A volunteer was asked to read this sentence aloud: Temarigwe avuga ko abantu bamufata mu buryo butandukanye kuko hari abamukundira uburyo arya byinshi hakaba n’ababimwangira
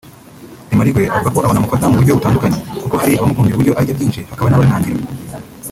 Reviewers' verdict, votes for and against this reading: rejected, 0, 2